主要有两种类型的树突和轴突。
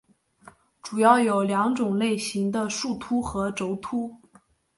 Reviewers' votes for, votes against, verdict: 7, 2, accepted